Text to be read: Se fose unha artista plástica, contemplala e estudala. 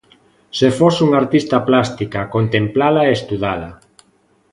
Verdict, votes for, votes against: accepted, 2, 0